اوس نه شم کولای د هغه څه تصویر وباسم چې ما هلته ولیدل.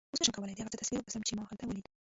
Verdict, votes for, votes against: rejected, 1, 2